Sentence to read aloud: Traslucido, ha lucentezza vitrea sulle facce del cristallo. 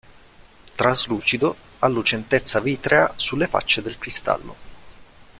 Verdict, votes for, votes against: accepted, 2, 0